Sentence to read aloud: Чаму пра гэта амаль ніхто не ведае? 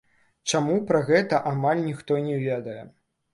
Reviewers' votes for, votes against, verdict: 0, 2, rejected